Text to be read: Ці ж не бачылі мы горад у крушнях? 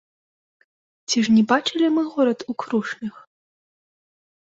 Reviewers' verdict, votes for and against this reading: rejected, 0, 2